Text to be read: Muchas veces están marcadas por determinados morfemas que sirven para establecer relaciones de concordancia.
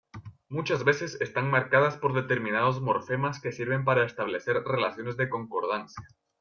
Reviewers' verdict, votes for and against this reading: accepted, 2, 0